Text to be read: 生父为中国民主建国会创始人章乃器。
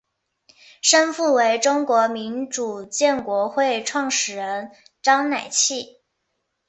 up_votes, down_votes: 4, 1